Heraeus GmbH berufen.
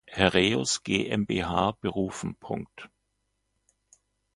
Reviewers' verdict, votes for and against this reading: rejected, 0, 2